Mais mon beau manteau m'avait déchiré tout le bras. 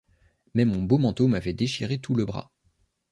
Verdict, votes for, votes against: accepted, 2, 0